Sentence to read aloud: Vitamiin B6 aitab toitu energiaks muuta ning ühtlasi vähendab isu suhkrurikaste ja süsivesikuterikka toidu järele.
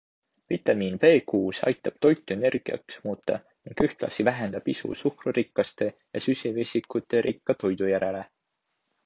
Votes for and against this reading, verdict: 0, 2, rejected